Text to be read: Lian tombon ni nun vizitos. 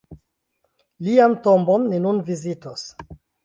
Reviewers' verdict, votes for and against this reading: accepted, 2, 0